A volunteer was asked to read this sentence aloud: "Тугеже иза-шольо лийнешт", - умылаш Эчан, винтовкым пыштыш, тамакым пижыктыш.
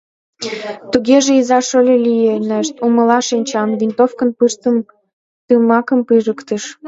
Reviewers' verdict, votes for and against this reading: rejected, 1, 2